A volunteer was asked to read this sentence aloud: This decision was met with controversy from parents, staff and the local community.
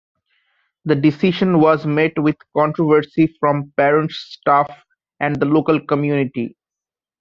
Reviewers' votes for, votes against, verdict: 0, 2, rejected